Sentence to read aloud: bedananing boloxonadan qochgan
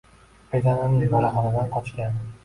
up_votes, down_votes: 0, 2